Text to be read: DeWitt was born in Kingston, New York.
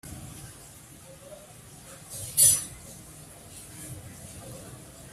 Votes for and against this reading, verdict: 0, 3, rejected